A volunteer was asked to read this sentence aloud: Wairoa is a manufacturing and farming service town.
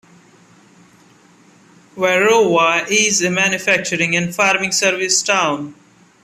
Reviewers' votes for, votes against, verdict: 2, 0, accepted